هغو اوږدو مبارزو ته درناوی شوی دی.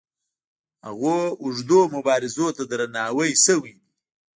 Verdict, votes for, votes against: rejected, 1, 2